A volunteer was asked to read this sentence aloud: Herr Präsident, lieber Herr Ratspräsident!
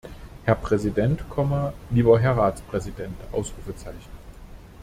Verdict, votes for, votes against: rejected, 0, 2